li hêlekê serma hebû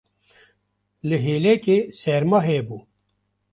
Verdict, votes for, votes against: rejected, 1, 2